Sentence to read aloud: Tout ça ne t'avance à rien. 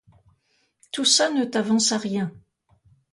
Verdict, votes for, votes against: accepted, 2, 0